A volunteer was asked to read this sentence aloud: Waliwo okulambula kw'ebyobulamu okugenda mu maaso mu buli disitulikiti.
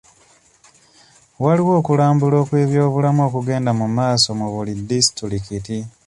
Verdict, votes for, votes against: rejected, 0, 2